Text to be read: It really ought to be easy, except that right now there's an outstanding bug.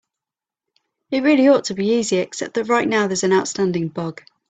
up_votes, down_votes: 2, 0